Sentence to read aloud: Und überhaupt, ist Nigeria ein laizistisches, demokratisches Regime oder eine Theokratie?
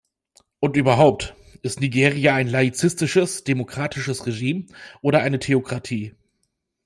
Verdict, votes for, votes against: accepted, 2, 0